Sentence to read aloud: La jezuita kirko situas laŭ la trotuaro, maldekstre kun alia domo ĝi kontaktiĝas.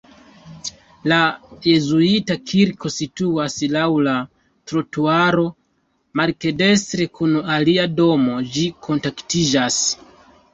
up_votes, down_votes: 2, 1